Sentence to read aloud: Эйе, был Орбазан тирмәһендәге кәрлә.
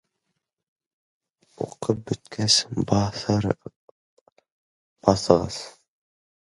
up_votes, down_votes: 0, 2